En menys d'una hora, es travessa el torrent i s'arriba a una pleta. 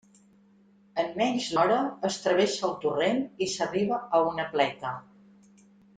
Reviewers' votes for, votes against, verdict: 0, 2, rejected